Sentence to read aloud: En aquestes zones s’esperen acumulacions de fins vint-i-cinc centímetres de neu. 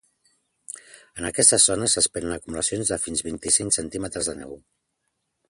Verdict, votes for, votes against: accepted, 2, 0